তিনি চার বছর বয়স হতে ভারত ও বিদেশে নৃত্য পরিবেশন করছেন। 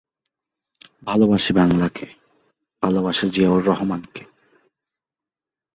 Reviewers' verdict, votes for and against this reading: rejected, 0, 2